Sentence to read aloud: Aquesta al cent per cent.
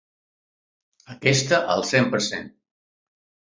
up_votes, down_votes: 3, 0